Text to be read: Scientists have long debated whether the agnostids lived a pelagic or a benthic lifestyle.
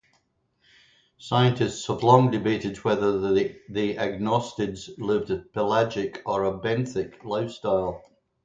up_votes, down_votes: 0, 2